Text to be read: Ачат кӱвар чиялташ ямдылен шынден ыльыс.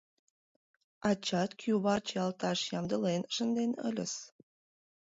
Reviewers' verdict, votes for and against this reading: rejected, 1, 2